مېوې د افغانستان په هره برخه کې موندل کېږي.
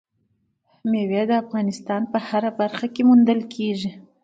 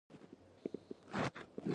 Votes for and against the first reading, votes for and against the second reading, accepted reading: 2, 1, 1, 2, first